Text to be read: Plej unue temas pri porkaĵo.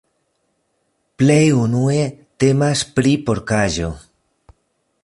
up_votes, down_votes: 2, 0